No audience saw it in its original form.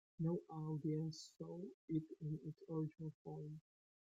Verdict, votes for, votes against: rejected, 1, 2